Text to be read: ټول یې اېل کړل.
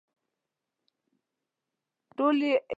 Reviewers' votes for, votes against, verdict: 0, 2, rejected